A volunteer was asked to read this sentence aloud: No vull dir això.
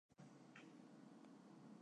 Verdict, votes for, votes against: rejected, 0, 2